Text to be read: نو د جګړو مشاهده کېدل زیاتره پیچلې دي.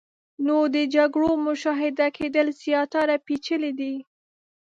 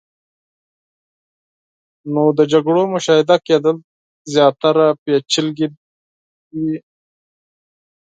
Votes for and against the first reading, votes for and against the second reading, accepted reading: 2, 0, 2, 4, first